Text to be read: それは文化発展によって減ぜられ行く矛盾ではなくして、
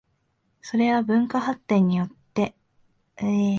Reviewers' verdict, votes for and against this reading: rejected, 0, 2